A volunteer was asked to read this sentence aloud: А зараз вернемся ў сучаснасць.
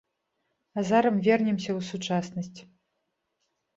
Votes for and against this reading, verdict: 1, 2, rejected